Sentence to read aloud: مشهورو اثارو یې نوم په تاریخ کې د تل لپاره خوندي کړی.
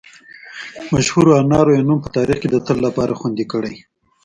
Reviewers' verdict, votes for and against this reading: rejected, 0, 2